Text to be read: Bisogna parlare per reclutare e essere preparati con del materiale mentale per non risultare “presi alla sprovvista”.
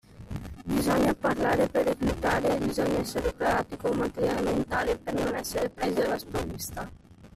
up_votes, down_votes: 1, 2